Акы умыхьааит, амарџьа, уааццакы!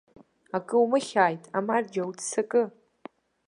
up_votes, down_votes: 1, 2